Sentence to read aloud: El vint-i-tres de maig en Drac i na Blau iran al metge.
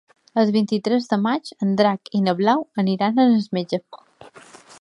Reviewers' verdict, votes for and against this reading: accepted, 2, 1